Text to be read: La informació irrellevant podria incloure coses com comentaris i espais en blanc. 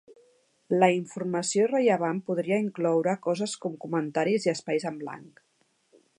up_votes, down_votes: 2, 0